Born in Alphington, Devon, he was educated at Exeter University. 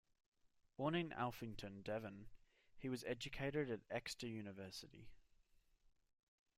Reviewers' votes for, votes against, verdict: 2, 0, accepted